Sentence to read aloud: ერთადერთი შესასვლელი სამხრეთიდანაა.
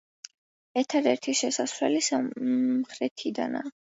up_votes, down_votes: 1, 2